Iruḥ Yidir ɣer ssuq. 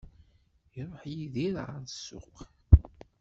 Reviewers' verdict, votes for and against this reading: rejected, 1, 2